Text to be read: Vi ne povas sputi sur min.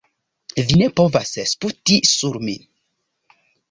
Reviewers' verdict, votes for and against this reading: rejected, 1, 2